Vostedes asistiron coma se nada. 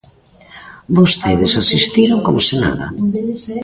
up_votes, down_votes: 1, 2